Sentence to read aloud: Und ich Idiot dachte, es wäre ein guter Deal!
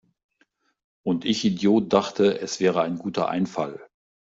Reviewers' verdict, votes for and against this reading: rejected, 0, 2